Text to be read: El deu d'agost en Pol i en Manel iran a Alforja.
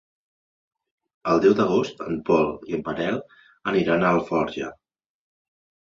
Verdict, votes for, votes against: rejected, 1, 2